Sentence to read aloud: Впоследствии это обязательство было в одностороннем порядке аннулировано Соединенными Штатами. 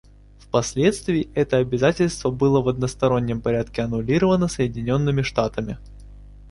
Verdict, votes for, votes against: accepted, 2, 0